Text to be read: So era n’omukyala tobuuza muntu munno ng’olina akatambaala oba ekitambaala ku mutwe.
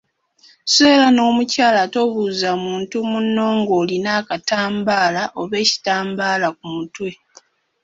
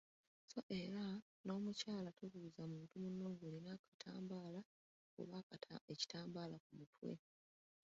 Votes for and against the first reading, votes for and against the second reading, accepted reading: 2, 1, 1, 2, first